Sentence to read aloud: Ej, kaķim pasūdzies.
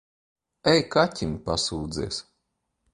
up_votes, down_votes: 2, 0